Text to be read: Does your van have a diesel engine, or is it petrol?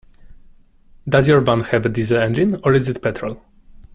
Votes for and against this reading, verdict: 2, 0, accepted